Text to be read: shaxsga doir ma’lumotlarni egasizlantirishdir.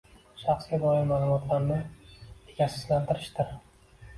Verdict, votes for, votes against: rejected, 1, 2